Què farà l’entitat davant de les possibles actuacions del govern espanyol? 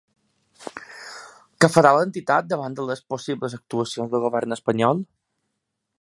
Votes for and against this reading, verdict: 3, 0, accepted